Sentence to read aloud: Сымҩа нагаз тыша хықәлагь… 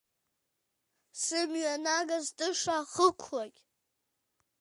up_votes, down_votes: 2, 0